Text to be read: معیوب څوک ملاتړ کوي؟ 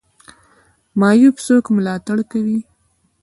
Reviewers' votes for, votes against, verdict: 2, 1, accepted